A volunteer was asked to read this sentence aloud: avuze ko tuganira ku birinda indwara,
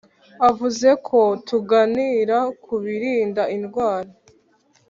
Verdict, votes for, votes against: accepted, 3, 0